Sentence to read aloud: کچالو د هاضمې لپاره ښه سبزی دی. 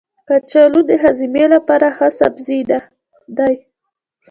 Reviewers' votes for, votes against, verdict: 0, 2, rejected